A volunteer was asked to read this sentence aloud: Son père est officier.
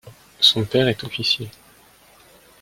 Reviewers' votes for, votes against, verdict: 2, 0, accepted